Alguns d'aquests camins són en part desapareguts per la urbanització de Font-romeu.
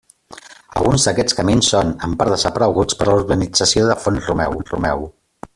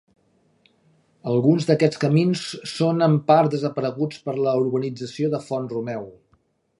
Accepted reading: second